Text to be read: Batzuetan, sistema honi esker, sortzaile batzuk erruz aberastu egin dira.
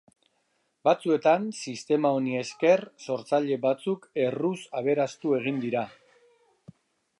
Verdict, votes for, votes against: rejected, 0, 2